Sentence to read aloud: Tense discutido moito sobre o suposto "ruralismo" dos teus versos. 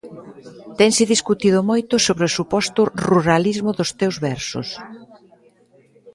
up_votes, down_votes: 2, 0